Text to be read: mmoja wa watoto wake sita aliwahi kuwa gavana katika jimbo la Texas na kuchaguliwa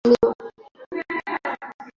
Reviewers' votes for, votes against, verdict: 0, 2, rejected